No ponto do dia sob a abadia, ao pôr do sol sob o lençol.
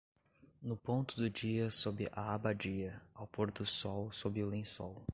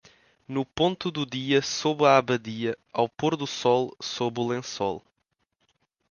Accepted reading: second